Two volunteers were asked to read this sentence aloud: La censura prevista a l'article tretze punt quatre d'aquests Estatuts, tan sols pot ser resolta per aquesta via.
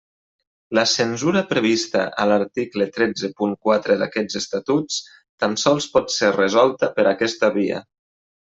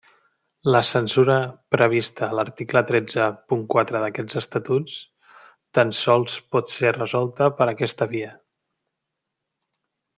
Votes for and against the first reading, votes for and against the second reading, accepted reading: 1, 2, 2, 0, second